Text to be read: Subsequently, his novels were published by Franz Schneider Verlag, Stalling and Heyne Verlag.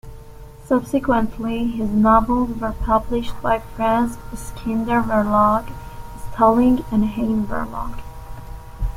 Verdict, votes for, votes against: rejected, 1, 2